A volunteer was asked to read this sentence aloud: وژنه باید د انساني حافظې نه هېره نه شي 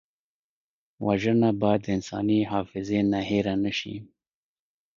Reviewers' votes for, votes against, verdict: 0, 2, rejected